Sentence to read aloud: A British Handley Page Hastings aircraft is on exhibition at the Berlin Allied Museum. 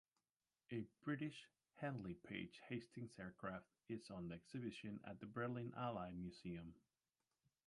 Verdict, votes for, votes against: accepted, 2, 1